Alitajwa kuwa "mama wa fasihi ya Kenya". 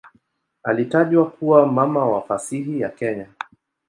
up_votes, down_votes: 2, 0